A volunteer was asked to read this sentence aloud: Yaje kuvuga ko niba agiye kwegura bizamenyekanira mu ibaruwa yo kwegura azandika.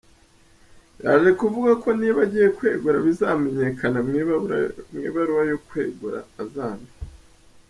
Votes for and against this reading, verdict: 0, 4, rejected